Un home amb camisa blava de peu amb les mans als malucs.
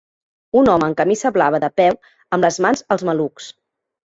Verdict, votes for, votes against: rejected, 1, 2